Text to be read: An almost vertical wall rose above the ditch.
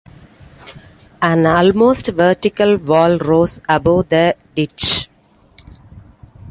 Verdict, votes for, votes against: accepted, 2, 0